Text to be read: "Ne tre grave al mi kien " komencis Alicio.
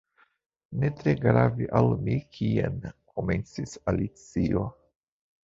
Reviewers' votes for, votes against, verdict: 2, 1, accepted